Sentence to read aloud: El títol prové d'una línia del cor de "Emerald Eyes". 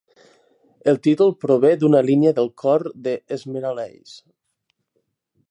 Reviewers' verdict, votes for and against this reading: rejected, 1, 2